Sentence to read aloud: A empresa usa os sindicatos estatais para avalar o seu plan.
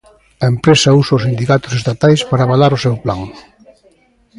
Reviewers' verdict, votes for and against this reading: accepted, 2, 0